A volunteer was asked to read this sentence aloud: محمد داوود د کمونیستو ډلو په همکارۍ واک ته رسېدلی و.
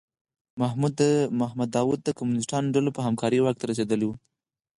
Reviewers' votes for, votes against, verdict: 4, 0, accepted